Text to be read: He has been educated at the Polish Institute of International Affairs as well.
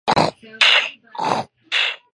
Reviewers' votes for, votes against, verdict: 0, 2, rejected